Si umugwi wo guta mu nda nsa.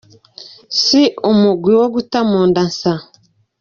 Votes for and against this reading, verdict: 3, 0, accepted